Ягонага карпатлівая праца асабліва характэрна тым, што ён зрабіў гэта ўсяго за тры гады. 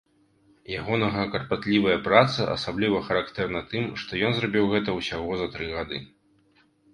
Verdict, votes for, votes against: accepted, 2, 0